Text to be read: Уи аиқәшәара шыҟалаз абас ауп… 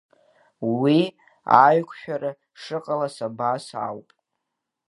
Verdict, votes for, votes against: accepted, 2, 0